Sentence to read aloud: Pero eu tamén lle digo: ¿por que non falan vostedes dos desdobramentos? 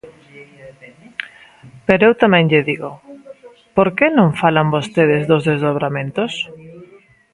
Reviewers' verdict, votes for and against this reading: accepted, 2, 1